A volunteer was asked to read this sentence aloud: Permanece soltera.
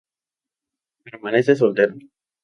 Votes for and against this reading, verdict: 0, 2, rejected